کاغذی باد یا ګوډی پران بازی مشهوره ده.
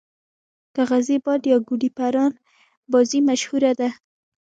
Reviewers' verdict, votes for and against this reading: accepted, 2, 0